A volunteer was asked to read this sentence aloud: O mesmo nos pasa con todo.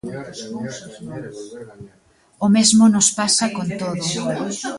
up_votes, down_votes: 2, 0